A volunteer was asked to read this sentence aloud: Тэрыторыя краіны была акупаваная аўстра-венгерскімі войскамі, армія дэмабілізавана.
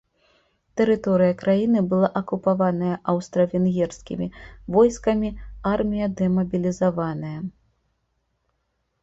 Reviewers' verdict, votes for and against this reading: rejected, 0, 2